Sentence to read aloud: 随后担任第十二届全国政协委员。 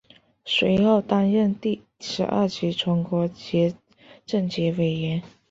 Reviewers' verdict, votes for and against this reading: rejected, 1, 2